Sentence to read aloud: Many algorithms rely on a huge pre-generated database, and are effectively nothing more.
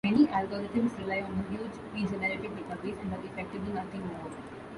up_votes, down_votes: 1, 2